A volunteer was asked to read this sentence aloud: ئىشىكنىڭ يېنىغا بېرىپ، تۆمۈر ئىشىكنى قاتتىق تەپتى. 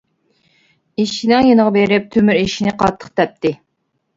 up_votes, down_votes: 1, 2